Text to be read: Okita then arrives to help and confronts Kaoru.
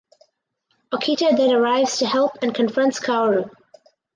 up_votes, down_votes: 4, 0